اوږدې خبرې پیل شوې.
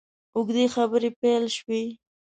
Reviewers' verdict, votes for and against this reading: accepted, 2, 0